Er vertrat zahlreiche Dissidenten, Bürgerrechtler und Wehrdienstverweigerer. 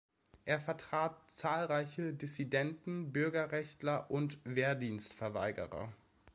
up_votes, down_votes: 2, 0